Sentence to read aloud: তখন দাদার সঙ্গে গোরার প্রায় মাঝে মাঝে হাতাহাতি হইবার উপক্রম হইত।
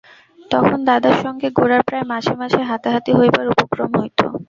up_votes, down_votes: 2, 0